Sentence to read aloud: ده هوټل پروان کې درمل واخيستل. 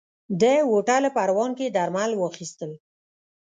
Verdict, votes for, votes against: accepted, 2, 0